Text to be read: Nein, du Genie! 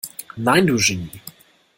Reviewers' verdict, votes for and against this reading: accepted, 2, 1